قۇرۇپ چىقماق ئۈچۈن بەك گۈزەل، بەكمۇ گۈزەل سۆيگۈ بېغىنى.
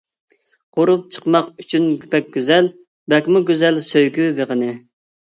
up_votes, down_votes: 1, 2